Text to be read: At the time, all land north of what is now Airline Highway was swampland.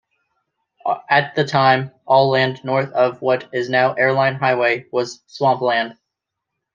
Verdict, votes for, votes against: accepted, 2, 1